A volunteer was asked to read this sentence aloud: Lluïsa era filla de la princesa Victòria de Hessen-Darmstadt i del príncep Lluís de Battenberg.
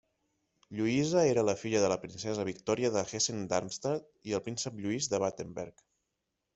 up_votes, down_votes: 1, 2